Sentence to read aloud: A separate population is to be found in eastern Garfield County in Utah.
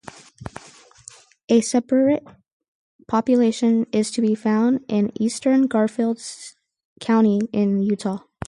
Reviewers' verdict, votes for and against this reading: rejected, 0, 4